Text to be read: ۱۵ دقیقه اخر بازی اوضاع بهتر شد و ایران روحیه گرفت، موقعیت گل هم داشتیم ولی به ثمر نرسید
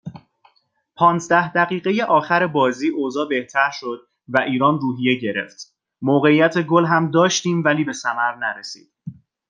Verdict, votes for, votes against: rejected, 0, 2